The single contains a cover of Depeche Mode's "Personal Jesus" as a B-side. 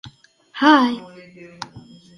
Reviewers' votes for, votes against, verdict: 0, 2, rejected